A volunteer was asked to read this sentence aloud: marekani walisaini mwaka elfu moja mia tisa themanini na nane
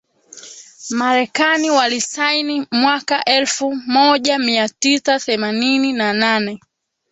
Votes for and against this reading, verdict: 1, 2, rejected